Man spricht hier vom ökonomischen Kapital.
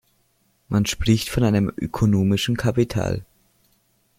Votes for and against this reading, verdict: 0, 2, rejected